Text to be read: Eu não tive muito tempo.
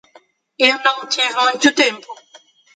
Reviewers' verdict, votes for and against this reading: rejected, 0, 2